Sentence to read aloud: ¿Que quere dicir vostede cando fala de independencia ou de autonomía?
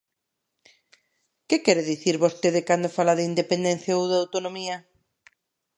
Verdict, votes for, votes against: accepted, 2, 0